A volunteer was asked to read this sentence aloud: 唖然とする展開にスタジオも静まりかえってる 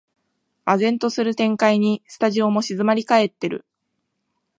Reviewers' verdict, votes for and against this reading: accepted, 2, 0